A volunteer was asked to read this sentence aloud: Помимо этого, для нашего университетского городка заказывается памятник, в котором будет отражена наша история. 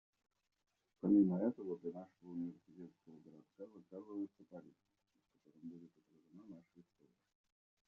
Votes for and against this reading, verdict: 0, 2, rejected